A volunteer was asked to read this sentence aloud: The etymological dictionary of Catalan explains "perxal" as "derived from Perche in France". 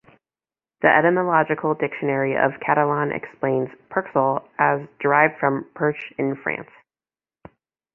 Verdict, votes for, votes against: accepted, 2, 0